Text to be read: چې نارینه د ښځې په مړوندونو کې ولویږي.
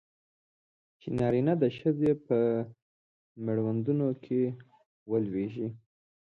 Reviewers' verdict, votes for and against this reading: accepted, 2, 0